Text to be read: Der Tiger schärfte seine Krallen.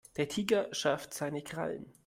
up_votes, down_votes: 1, 2